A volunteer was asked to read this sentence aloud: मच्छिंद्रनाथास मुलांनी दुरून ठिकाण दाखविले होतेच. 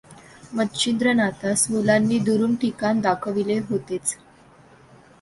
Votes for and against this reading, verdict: 2, 0, accepted